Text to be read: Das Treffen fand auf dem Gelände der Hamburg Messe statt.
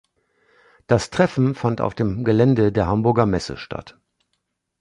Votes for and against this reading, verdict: 0, 2, rejected